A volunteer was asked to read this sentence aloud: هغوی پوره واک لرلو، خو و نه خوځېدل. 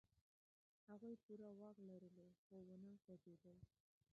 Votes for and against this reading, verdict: 0, 2, rejected